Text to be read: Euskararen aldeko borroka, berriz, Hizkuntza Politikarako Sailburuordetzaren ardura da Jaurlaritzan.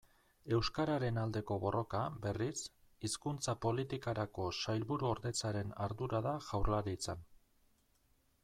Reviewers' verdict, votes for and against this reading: accepted, 2, 0